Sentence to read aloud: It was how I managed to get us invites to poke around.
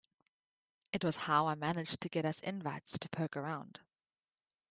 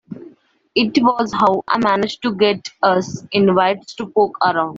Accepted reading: first